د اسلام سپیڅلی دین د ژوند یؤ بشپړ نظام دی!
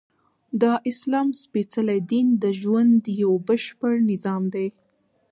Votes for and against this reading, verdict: 2, 1, accepted